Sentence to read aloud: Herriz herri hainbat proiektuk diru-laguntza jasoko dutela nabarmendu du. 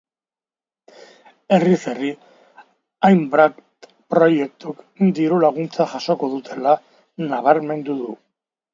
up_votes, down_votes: 2, 1